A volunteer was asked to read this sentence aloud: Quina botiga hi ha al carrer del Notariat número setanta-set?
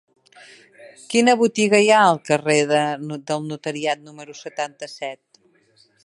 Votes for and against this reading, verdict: 0, 2, rejected